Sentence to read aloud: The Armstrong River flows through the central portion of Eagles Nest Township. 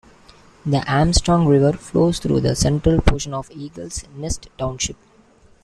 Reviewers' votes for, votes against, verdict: 1, 2, rejected